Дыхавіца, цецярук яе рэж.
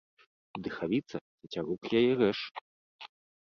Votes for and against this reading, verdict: 1, 2, rejected